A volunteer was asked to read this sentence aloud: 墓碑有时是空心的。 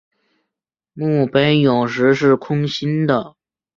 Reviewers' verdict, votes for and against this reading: accepted, 2, 0